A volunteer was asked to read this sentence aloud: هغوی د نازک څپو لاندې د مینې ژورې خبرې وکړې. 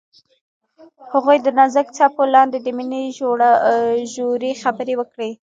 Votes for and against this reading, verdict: 1, 2, rejected